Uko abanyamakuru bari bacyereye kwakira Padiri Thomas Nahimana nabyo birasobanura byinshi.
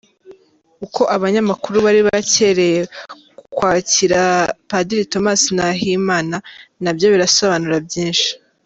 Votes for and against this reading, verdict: 2, 1, accepted